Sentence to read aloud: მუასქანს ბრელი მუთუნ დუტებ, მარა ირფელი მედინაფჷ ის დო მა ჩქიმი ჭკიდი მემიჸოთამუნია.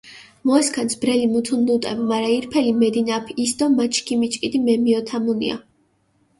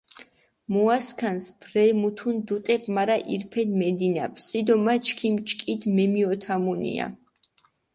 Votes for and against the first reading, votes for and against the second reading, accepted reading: 2, 0, 0, 4, first